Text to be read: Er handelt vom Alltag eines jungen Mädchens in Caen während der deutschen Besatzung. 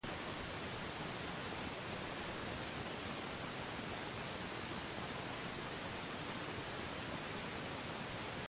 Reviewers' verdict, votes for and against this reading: rejected, 0, 2